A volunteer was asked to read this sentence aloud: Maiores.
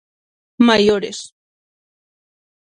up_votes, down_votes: 6, 0